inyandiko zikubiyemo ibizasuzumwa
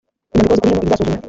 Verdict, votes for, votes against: rejected, 1, 3